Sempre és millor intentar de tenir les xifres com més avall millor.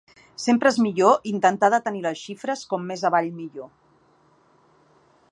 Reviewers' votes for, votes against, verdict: 2, 0, accepted